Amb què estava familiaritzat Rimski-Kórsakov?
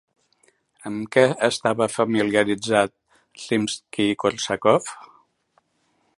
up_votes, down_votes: 2, 0